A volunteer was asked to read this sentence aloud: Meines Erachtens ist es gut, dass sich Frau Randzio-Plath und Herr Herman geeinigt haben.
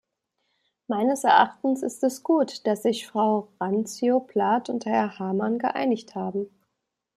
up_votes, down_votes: 1, 2